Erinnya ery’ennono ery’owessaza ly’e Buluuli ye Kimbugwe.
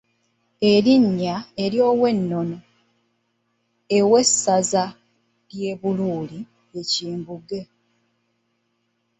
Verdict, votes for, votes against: rejected, 0, 2